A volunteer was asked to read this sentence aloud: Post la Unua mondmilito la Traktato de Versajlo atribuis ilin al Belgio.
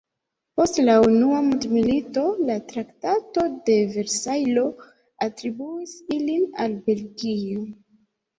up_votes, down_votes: 1, 3